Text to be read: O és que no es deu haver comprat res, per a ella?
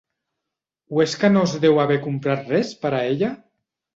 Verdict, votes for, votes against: accepted, 2, 0